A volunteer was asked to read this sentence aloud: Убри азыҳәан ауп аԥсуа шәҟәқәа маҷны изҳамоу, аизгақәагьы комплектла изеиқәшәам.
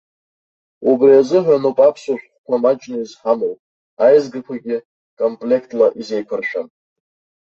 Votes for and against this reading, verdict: 1, 2, rejected